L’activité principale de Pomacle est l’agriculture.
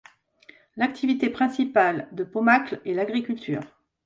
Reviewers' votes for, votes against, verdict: 2, 0, accepted